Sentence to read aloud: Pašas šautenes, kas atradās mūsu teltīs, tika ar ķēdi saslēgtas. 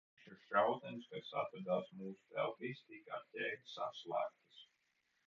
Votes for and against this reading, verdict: 0, 2, rejected